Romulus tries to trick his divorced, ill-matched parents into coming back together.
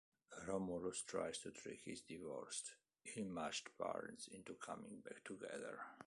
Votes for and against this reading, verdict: 2, 0, accepted